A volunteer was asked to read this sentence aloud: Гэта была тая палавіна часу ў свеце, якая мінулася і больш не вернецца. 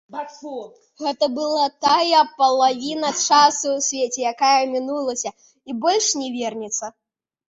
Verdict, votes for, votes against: rejected, 1, 2